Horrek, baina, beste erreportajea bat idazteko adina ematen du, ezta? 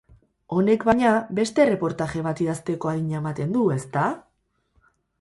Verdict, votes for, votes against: rejected, 0, 4